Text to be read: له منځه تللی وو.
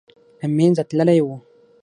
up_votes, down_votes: 6, 0